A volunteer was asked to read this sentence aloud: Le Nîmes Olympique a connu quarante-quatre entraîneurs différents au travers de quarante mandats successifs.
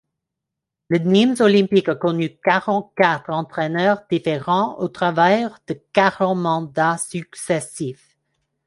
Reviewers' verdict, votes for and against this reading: accepted, 2, 1